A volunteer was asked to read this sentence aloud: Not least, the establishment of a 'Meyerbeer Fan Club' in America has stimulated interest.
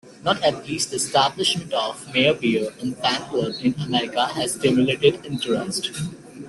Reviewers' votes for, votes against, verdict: 0, 2, rejected